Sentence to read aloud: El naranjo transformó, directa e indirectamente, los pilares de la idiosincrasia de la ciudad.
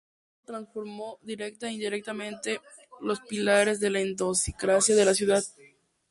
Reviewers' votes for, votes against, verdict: 0, 2, rejected